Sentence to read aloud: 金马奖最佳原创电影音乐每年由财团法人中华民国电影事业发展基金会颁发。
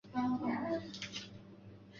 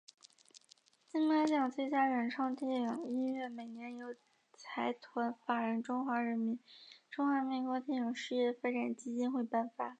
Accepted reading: second